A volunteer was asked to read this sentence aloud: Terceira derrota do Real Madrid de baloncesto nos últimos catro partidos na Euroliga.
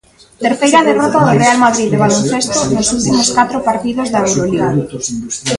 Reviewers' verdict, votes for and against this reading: rejected, 0, 2